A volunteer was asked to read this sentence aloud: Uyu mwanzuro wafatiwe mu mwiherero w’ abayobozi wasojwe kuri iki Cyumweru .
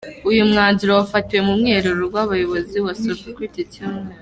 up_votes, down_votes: 0, 2